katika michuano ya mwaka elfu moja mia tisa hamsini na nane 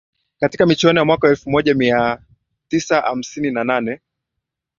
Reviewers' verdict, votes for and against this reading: accepted, 5, 2